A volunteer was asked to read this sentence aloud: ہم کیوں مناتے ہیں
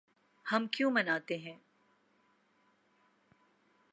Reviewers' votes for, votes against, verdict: 3, 0, accepted